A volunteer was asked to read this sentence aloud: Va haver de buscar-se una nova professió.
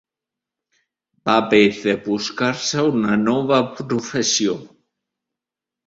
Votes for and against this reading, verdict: 0, 2, rejected